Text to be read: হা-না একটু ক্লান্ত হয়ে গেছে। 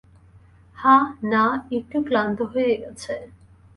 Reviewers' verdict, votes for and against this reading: accepted, 2, 0